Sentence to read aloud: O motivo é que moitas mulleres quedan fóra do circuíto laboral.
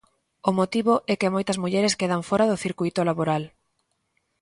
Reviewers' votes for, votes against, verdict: 2, 0, accepted